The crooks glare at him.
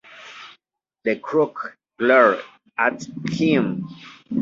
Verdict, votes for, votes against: rejected, 1, 2